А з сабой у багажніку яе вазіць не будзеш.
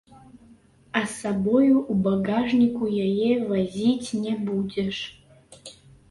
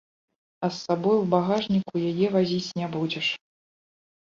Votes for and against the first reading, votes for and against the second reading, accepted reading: 0, 3, 2, 0, second